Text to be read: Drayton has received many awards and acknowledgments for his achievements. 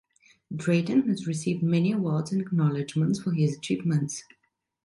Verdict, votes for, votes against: accepted, 2, 0